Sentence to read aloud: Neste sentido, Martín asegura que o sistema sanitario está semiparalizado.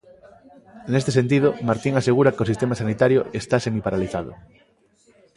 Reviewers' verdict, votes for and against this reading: rejected, 1, 2